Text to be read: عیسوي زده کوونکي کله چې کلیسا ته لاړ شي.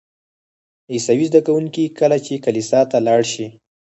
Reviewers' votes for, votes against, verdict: 2, 4, rejected